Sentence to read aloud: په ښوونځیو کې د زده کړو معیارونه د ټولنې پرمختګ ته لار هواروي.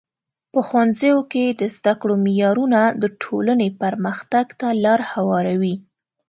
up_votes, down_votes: 2, 0